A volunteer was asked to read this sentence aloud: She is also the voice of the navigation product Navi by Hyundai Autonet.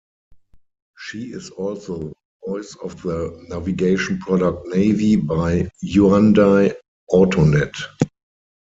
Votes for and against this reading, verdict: 0, 4, rejected